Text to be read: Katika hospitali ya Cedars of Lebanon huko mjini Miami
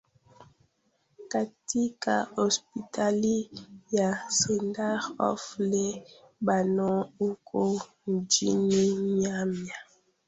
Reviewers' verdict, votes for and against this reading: rejected, 1, 2